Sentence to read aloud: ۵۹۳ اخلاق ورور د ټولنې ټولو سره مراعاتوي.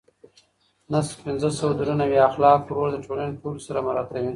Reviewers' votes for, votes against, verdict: 0, 2, rejected